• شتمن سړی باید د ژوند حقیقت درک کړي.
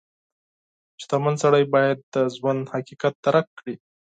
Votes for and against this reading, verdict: 2, 4, rejected